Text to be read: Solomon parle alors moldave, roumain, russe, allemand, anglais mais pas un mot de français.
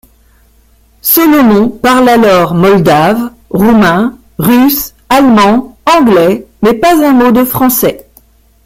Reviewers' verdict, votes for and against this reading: rejected, 1, 2